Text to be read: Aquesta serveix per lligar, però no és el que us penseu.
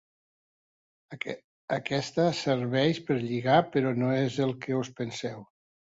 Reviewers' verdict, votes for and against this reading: rejected, 1, 2